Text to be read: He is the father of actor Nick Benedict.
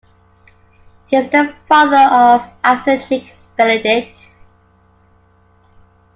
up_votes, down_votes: 2, 0